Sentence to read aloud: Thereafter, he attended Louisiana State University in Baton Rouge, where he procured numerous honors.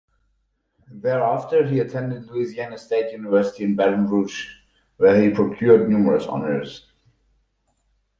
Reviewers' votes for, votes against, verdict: 4, 0, accepted